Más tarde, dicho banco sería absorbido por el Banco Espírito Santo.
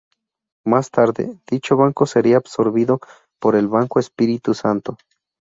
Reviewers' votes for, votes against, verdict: 0, 2, rejected